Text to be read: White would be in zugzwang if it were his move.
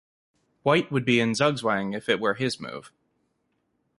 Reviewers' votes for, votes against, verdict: 2, 0, accepted